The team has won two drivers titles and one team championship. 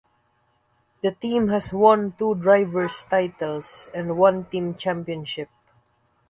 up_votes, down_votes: 2, 0